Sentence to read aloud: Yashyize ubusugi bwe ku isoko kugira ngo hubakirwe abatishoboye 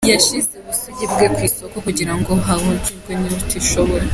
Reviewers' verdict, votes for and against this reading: rejected, 1, 2